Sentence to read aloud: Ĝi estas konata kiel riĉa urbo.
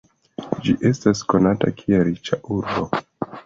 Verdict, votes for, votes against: accepted, 2, 0